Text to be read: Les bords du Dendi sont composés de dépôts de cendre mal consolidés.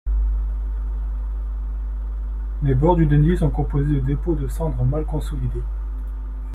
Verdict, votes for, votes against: accepted, 2, 0